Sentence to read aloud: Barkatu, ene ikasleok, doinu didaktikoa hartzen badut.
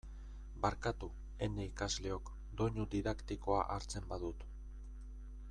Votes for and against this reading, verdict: 2, 1, accepted